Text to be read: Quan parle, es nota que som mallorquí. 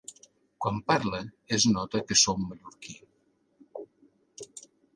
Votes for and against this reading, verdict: 2, 0, accepted